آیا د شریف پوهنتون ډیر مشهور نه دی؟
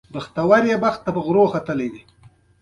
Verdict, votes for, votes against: rejected, 0, 2